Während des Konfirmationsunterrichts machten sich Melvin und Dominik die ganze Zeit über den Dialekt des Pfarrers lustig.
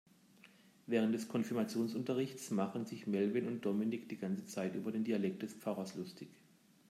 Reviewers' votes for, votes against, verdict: 1, 2, rejected